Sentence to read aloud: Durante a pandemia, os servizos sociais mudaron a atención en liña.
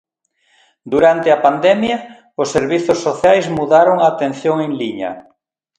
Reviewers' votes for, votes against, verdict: 2, 0, accepted